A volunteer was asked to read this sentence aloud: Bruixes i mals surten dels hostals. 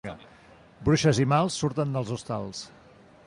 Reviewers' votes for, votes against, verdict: 2, 0, accepted